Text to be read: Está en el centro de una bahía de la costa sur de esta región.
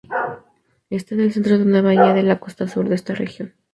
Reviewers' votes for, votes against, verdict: 2, 0, accepted